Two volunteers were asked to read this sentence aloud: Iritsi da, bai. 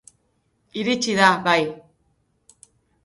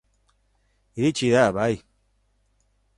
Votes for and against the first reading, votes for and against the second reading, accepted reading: 0, 2, 2, 0, second